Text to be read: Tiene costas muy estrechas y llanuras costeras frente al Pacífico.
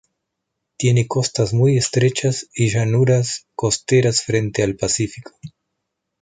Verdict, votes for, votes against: accepted, 2, 0